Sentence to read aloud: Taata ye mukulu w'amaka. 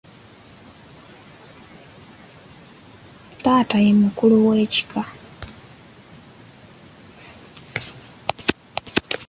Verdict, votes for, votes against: rejected, 0, 3